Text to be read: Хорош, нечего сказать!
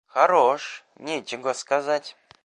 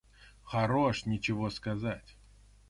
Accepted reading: first